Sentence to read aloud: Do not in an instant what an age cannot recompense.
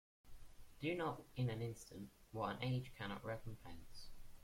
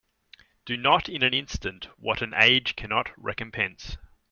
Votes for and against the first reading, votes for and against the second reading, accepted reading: 0, 2, 2, 0, second